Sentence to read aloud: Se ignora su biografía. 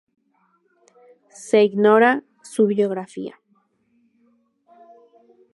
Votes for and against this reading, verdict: 2, 0, accepted